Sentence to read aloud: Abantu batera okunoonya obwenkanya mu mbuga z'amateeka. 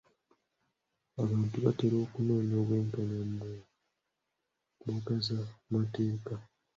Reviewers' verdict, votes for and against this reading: rejected, 0, 2